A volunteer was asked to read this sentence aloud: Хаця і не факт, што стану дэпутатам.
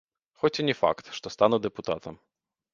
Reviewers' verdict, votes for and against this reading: rejected, 1, 2